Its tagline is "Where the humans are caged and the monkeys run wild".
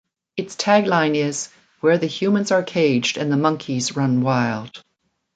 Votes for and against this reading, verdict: 2, 1, accepted